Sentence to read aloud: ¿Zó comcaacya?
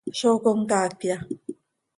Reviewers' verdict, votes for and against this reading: accepted, 2, 0